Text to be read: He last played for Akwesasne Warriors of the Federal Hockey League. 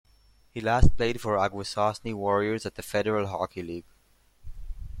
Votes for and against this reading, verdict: 1, 2, rejected